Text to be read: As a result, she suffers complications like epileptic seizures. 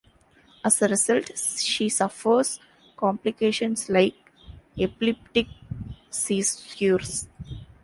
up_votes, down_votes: 0, 2